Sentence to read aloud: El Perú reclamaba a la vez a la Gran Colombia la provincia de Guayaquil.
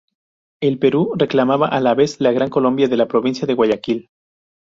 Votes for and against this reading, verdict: 0, 2, rejected